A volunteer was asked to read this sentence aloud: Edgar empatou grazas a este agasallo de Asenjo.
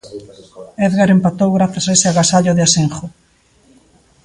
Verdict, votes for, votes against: rejected, 0, 2